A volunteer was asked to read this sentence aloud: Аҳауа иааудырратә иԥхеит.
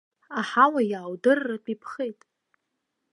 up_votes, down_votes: 2, 0